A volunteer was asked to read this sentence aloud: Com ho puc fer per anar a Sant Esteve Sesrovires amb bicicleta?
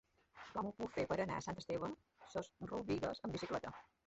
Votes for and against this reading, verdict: 0, 2, rejected